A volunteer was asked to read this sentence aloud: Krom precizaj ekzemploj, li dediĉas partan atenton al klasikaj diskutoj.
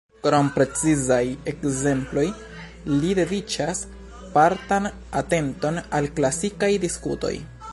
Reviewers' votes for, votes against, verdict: 2, 0, accepted